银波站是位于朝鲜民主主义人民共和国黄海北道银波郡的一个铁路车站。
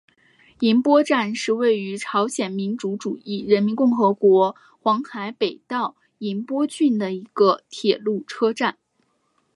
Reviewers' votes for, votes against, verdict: 0, 2, rejected